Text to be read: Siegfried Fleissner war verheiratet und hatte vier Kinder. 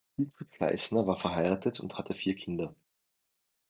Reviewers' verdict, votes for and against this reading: rejected, 1, 2